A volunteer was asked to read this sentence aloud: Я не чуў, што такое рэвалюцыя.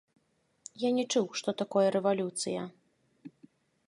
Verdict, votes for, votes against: rejected, 0, 2